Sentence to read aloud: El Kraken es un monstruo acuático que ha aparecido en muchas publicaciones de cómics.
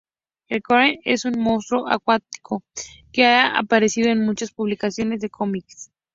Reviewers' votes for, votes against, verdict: 2, 0, accepted